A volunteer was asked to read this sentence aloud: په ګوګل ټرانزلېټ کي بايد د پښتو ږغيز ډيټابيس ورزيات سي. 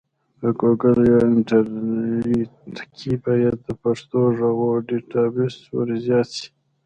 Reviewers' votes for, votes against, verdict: 0, 2, rejected